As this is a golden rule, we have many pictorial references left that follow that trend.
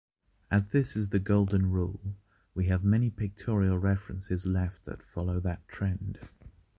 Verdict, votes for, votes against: rejected, 1, 2